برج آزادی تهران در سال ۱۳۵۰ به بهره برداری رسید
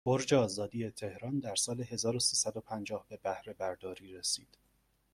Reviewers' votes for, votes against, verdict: 0, 2, rejected